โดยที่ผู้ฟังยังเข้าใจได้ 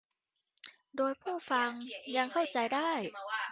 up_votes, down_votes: 0, 2